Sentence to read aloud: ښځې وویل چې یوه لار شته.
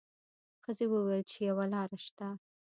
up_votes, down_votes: 2, 0